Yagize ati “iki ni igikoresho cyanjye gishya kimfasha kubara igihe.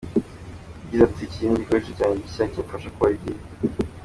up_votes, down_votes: 2, 1